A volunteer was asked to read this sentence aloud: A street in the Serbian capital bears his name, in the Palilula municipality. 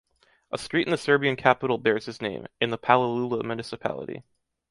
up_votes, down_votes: 3, 0